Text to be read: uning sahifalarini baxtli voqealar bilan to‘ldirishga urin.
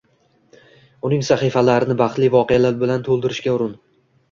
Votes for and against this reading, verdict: 1, 2, rejected